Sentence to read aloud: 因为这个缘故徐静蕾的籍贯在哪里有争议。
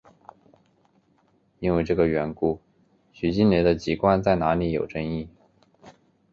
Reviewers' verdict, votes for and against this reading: accepted, 2, 0